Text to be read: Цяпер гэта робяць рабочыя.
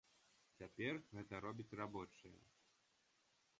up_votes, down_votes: 1, 2